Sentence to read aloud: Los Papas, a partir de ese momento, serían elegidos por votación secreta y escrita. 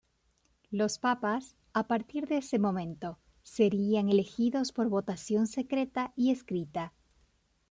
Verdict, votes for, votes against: accepted, 2, 0